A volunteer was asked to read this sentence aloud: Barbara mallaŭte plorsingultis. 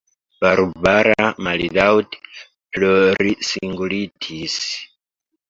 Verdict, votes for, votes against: accepted, 2, 1